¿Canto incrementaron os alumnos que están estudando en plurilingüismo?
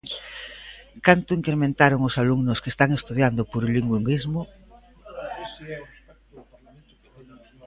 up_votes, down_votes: 0, 2